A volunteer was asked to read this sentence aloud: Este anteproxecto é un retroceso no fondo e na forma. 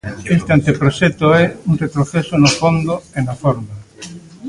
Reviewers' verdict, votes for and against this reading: rejected, 0, 2